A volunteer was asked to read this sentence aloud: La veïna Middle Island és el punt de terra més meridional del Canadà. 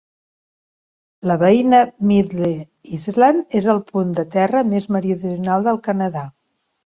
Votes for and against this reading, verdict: 1, 2, rejected